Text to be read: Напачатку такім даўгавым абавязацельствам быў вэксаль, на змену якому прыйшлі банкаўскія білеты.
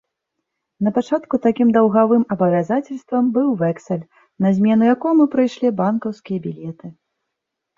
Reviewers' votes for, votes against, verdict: 2, 0, accepted